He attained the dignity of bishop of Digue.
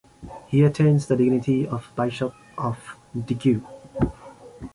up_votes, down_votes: 0, 2